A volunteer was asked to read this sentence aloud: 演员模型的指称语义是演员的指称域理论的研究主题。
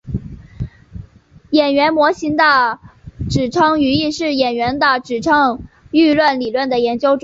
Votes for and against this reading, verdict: 1, 3, rejected